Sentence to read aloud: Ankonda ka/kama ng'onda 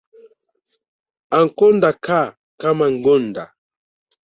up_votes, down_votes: 1, 2